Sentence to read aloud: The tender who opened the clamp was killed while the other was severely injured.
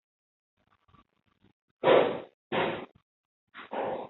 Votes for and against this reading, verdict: 0, 2, rejected